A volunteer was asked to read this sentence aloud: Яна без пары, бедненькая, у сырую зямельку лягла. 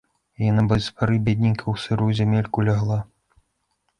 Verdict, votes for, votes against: rejected, 0, 2